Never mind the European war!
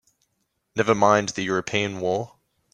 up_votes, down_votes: 2, 0